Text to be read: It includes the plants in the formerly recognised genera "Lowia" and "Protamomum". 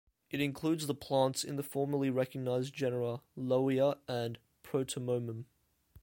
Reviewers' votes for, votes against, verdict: 2, 0, accepted